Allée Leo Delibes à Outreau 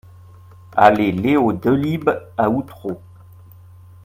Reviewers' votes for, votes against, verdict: 2, 0, accepted